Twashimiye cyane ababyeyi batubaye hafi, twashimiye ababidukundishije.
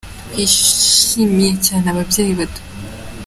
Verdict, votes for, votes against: rejected, 0, 2